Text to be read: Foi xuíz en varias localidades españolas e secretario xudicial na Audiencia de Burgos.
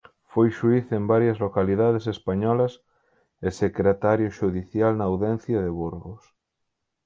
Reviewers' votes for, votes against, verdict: 2, 4, rejected